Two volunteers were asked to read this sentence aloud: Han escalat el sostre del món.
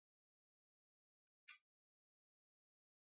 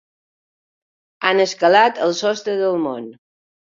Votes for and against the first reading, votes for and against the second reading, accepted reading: 0, 3, 3, 0, second